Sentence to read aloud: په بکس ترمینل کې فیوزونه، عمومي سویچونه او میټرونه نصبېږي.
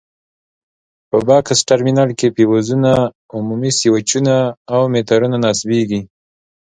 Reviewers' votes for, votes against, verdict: 2, 1, accepted